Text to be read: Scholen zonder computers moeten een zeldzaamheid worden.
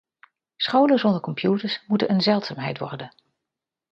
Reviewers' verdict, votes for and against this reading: accepted, 2, 0